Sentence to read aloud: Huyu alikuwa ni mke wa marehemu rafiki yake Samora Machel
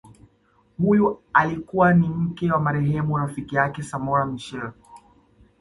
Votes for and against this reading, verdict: 2, 0, accepted